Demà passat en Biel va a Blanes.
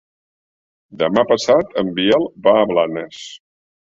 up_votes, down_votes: 3, 0